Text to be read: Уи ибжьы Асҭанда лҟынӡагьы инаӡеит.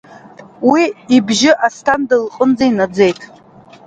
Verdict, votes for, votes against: rejected, 0, 2